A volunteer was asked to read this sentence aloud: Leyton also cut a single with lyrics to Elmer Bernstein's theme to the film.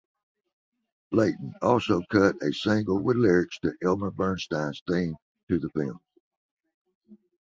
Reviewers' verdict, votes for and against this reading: accepted, 2, 0